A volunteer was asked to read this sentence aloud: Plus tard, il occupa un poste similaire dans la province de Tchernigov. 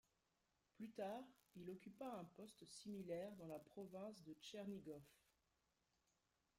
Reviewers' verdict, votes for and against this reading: rejected, 0, 2